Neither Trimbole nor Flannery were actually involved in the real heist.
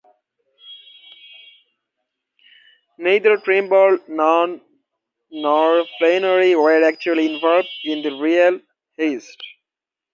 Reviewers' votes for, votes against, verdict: 0, 2, rejected